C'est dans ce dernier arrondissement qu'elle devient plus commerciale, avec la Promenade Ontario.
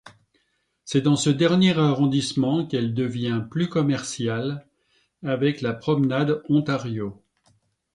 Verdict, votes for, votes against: accepted, 2, 0